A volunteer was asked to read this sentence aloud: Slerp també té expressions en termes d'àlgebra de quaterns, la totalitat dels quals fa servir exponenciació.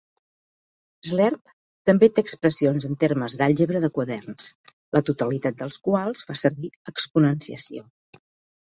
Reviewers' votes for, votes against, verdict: 1, 2, rejected